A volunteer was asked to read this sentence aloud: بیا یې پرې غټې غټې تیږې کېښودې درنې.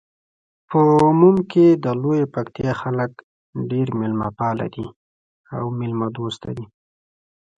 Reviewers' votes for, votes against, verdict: 1, 2, rejected